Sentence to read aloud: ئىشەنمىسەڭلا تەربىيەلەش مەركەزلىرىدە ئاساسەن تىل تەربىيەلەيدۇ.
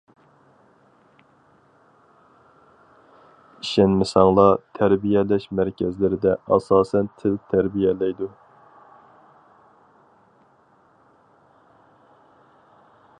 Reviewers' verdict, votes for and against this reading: accepted, 4, 0